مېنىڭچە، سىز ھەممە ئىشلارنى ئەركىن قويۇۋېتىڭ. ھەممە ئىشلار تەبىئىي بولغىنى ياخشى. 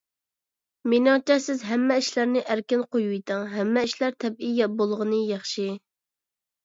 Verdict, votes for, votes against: rejected, 1, 2